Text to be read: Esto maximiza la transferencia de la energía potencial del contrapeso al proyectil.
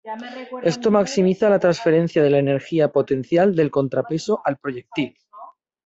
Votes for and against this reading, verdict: 0, 2, rejected